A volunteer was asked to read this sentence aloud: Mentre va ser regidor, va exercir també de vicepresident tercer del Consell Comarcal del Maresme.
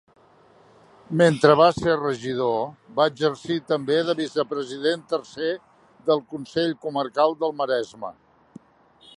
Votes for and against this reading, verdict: 3, 0, accepted